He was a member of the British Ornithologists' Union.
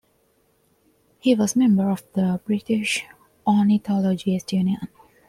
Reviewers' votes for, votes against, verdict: 1, 2, rejected